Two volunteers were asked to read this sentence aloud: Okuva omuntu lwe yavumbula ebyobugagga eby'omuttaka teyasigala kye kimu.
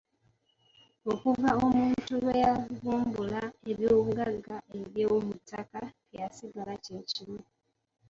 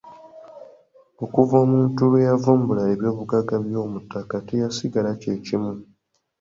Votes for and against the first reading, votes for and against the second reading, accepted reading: 0, 2, 2, 0, second